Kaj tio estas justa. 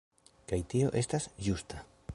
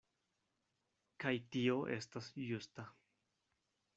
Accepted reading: second